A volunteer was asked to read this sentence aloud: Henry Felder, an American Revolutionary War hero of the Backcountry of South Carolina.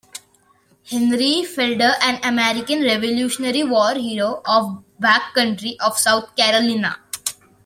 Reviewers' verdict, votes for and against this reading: rejected, 2, 3